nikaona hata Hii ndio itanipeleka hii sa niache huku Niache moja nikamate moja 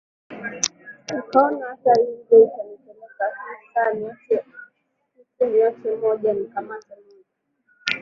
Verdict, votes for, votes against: rejected, 0, 2